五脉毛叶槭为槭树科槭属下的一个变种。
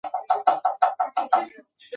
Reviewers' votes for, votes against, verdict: 0, 2, rejected